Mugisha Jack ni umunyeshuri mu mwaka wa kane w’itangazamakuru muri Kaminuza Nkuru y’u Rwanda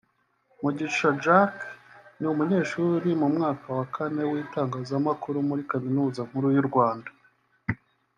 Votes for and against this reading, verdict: 2, 0, accepted